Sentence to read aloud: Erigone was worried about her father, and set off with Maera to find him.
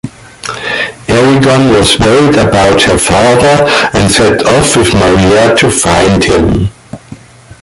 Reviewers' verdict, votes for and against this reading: accepted, 2, 1